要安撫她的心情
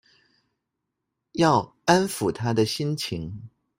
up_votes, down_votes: 2, 1